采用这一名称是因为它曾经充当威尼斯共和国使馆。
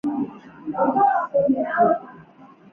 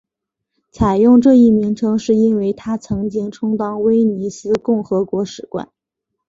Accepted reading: second